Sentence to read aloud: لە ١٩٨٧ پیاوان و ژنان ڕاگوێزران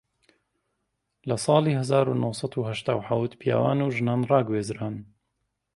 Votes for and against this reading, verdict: 0, 2, rejected